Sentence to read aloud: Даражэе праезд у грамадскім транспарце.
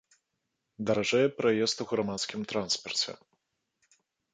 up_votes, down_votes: 2, 0